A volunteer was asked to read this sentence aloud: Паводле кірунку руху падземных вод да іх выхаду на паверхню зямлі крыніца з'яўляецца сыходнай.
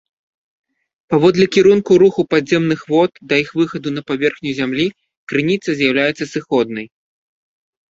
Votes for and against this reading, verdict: 2, 0, accepted